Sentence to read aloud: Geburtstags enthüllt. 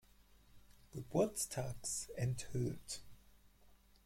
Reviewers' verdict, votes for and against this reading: rejected, 2, 4